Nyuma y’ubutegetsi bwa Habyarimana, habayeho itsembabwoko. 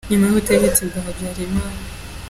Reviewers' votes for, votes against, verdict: 0, 3, rejected